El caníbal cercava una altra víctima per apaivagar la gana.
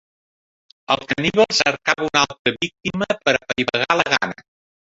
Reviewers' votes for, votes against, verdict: 1, 2, rejected